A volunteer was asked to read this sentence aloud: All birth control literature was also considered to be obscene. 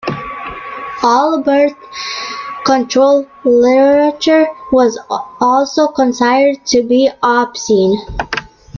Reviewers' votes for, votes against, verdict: 1, 2, rejected